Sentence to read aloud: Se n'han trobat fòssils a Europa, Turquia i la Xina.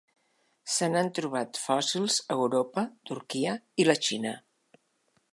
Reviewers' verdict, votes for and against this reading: accepted, 3, 0